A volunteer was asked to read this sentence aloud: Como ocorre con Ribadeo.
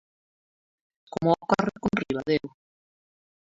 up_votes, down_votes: 0, 2